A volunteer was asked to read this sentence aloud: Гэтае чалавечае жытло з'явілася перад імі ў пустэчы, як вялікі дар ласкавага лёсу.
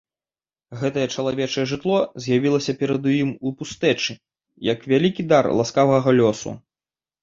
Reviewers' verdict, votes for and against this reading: rejected, 1, 2